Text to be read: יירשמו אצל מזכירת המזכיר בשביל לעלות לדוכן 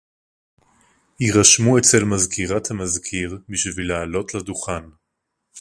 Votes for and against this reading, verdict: 4, 0, accepted